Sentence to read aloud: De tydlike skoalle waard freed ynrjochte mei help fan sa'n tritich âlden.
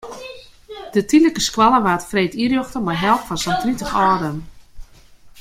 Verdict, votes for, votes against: rejected, 0, 2